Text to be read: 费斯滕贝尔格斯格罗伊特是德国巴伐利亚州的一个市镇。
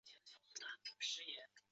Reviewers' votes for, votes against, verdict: 2, 0, accepted